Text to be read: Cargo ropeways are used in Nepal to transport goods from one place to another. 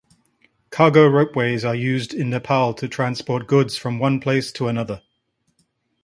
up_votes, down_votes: 2, 0